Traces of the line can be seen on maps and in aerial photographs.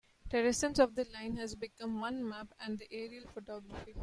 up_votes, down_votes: 0, 2